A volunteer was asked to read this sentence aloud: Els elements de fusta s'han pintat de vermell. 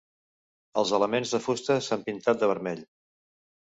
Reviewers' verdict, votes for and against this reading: accepted, 2, 0